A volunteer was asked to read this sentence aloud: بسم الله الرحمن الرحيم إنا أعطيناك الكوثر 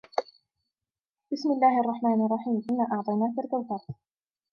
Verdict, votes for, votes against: accepted, 2, 1